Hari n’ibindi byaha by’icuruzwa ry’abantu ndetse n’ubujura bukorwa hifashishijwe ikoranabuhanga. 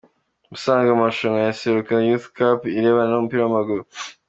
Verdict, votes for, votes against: rejected, 0, 2